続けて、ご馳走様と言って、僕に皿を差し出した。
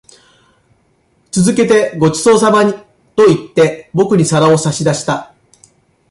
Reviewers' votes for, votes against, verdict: 1, 2, rejected